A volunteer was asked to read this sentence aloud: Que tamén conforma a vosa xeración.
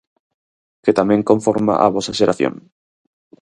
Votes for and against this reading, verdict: 4, 0, accepted